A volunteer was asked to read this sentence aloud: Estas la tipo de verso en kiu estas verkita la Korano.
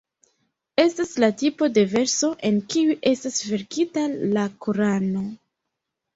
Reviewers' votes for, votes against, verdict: 0, 2, rejected